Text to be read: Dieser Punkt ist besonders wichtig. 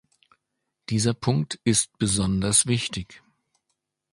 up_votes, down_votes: 2, 0